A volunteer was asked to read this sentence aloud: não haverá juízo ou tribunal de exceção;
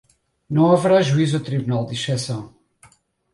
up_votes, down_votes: 4, 0